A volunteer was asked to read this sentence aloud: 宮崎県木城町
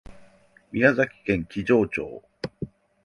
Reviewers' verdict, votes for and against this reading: accepted, 8, 0